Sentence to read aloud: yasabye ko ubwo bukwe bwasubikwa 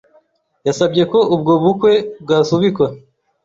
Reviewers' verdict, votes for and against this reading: accepted, 2, 0